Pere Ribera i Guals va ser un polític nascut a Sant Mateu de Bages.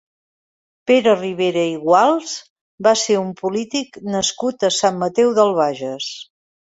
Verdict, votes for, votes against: rejected, 1, 3